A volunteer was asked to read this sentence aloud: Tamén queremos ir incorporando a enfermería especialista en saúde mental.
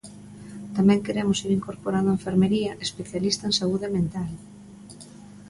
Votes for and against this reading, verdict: 2, 0, accepted